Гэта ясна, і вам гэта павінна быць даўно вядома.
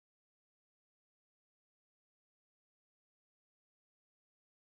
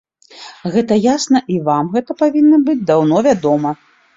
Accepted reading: second